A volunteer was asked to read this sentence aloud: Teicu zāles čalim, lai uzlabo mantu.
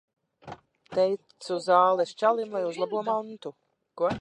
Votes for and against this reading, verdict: 0, 3, rejected